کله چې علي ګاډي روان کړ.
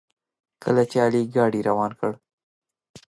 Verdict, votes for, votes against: accepted, 2, 0